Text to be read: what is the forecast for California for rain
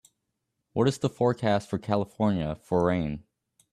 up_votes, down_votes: 2, 0